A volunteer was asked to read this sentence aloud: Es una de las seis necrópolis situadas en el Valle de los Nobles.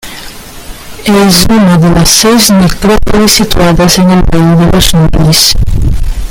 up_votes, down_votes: 0, 2